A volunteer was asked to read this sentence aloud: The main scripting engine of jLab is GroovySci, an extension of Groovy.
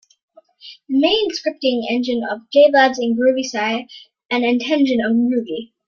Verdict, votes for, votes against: rejected, 0, 2